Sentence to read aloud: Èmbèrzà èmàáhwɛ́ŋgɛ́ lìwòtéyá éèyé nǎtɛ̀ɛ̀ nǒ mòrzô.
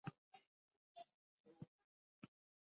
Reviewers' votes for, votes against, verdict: 1, 3, rejected